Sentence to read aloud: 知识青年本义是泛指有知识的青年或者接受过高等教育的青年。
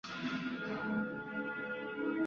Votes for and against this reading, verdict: 0, 5, rejected